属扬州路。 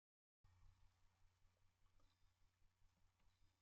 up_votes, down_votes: 0, 2